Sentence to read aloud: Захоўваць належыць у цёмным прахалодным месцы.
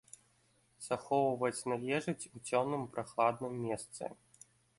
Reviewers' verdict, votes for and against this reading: rejected, 0, 2